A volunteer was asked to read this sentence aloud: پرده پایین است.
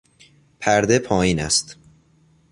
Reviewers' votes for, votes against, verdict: 2, 0, accepted